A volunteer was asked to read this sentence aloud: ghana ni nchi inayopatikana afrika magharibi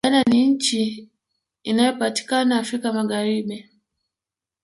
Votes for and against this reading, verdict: 1, 2, rejected